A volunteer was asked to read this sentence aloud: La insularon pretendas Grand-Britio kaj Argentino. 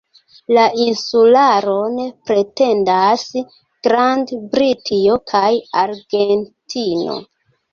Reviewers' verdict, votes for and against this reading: accepted, 2, 1